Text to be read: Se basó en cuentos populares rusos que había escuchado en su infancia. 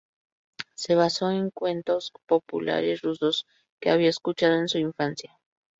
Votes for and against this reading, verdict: 0, 2, rejected